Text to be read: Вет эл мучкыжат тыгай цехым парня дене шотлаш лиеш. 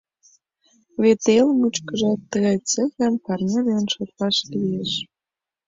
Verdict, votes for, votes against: accepted, 2, 1